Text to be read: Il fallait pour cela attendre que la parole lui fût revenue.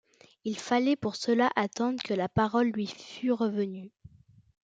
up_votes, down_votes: 2, 1